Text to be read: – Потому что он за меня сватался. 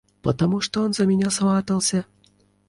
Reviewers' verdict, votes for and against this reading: accepted, 2, 0